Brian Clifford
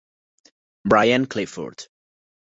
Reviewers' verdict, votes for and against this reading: accepted, 2, 0